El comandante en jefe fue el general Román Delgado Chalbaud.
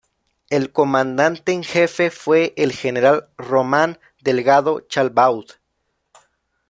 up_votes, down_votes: 2, 0